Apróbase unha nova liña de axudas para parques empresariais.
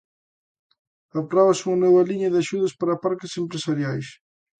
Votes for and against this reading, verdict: 3, 0, accepted